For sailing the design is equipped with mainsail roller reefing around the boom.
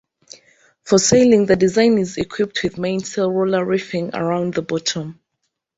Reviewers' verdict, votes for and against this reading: rejected, 0, 2